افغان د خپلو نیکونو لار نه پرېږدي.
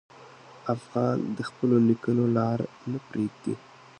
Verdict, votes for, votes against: accepted, 2, 1